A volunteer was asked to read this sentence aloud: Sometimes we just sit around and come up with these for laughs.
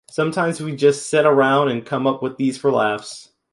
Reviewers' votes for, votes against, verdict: 2, 0, accepted